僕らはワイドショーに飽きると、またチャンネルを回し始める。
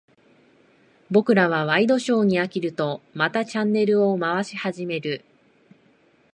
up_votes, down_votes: 2, 0